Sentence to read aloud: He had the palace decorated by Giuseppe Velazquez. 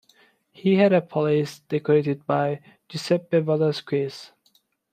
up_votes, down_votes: 1, 2